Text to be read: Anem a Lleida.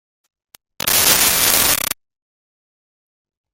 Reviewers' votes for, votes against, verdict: 0, 2, rejected